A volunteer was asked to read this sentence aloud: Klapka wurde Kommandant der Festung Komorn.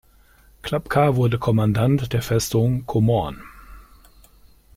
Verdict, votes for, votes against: accepted, 2, 0